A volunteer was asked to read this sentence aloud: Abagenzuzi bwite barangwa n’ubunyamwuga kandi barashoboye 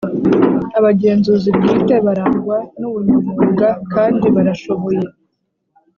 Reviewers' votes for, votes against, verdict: 3, 0, accepted